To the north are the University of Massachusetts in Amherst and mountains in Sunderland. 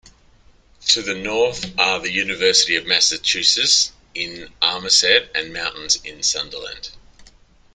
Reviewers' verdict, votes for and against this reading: rejected, 1, 2